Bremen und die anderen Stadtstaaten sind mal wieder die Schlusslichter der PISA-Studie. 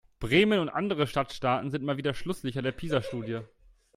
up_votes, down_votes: 1, 2